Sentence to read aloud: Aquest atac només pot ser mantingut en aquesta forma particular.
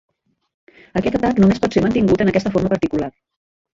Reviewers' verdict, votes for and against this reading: rejected, 0, 2